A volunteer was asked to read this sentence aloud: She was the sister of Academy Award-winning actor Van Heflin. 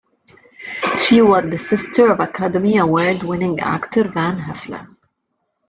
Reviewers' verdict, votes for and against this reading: accepted, 2, 0